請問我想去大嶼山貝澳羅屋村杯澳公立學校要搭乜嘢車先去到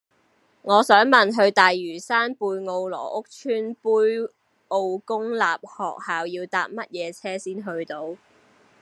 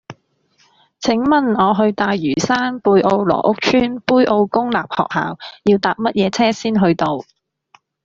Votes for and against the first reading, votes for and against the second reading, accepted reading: 1, 2, 2, 0, second